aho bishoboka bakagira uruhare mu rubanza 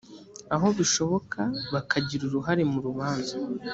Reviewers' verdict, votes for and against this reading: accepted, 2, 0